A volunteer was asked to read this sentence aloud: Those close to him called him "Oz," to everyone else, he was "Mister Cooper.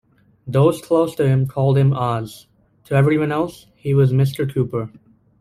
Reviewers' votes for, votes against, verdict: 2, 0, accepted